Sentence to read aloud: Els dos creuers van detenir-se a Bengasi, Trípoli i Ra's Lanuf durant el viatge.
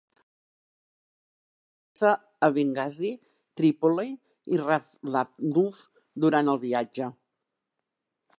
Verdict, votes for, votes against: rejected, 0, 2